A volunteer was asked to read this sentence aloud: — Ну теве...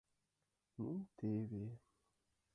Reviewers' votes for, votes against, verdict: 0, 6, rejected